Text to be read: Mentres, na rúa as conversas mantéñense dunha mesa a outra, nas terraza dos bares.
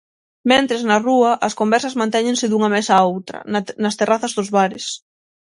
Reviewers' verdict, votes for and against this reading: rejected, 3, 6